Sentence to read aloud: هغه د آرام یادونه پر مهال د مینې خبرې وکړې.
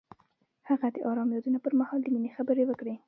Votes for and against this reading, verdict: 0, 2, rejected